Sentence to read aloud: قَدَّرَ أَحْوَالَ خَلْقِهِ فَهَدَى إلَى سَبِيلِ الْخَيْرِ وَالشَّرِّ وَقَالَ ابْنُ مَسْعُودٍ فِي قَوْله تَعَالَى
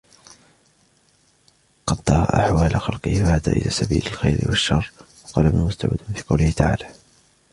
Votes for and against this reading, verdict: 1, 2, rejected